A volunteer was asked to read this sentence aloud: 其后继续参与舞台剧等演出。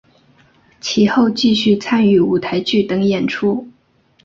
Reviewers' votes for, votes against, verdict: 2, 0, accepted